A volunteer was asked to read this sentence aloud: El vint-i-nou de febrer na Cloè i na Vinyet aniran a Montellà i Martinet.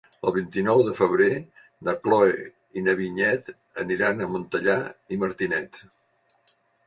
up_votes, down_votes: 1, 2